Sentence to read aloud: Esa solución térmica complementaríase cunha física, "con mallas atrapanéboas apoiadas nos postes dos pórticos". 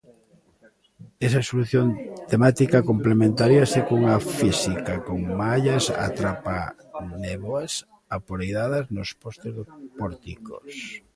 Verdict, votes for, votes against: rejected, 0, 2